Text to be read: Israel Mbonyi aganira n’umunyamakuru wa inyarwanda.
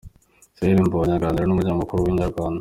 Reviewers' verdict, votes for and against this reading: accepted, 2, 0